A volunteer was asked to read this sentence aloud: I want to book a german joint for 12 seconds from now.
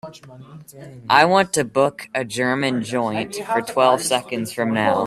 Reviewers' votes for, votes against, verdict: 0, 2, rejected